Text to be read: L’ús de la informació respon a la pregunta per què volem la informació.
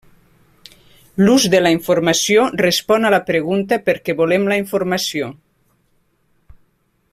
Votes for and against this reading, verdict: 2, 1, accepted